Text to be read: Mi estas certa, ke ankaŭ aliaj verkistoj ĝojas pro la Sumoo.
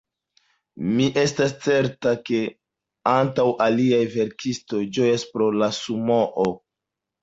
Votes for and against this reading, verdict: 1, 2, rejected